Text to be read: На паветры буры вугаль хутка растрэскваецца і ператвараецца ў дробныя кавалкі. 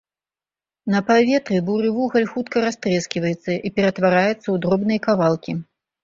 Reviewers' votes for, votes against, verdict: 2, 0, accepted